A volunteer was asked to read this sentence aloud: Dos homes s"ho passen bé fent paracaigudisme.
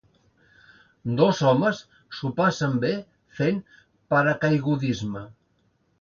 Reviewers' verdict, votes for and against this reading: accepted, 2, 0